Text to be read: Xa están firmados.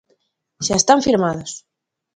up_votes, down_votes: 2, 0